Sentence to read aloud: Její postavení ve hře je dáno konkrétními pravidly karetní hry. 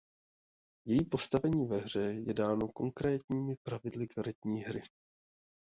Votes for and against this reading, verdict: 2, 1, accepted